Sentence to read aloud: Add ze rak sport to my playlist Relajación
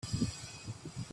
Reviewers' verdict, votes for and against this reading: rejected, 0, 2